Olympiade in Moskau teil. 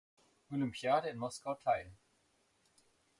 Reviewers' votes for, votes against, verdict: 2, 0, accepted